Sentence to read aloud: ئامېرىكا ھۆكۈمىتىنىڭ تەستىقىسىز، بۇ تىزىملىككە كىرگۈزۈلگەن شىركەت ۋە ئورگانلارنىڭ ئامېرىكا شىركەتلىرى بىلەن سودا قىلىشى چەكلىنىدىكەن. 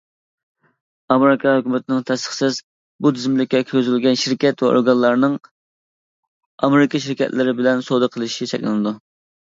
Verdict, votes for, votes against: rejected, 0, 2